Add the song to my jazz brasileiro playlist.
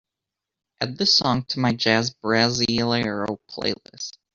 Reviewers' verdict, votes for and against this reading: rejected, 0, 3